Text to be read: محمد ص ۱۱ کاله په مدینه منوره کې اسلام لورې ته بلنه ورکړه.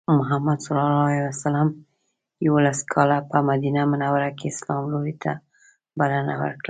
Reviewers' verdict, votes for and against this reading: rejected, 0, 2